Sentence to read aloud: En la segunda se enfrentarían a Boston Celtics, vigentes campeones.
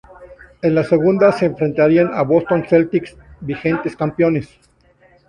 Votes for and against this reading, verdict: 2, 2, rejected